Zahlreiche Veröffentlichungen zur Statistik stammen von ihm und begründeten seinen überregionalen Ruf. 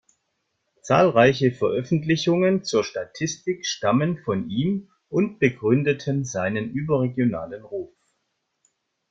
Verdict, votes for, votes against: accepted, 2, 0